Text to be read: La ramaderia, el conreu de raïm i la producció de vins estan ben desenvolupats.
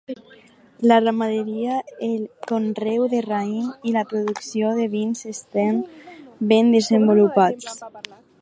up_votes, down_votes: 4, 0